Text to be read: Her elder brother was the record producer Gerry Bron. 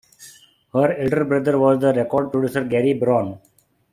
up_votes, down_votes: 2, 1